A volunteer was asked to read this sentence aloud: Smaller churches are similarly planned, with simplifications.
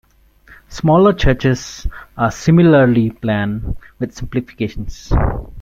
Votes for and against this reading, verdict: 2, 0, accepted